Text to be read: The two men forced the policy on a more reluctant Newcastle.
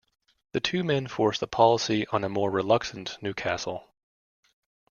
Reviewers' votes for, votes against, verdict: 2, 0, accepted